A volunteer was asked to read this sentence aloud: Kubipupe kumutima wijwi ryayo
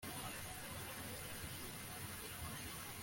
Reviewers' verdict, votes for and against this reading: rejected, 0, 2